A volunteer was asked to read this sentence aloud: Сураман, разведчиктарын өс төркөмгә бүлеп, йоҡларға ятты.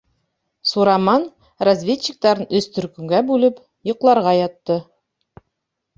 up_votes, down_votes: 2, 0